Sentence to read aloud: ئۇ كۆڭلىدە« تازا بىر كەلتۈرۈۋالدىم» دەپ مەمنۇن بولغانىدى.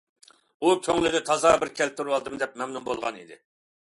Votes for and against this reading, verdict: 2, 0, accepted